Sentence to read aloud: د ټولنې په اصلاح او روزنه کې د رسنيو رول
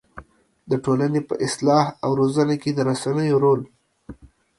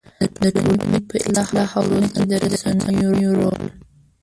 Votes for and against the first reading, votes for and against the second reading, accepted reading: 2, 0, 0, 2, first